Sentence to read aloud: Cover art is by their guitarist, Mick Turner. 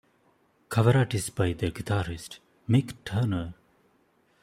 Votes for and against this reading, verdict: 2, 0, accepted